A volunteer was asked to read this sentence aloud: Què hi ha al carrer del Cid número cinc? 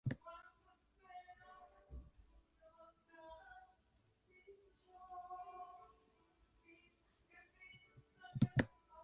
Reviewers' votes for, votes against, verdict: 0, 2, rejected